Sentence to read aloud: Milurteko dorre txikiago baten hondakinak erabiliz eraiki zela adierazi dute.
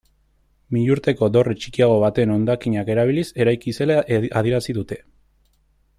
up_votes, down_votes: 1, 2